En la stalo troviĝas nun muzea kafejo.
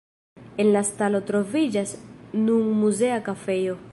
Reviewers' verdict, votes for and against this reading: rejected, 0, 2